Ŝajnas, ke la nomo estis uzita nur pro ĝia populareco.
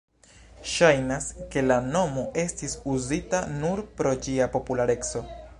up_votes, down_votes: 2, 1